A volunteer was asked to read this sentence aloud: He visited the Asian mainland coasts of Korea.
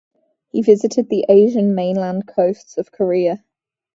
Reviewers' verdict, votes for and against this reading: rejected, 0, 2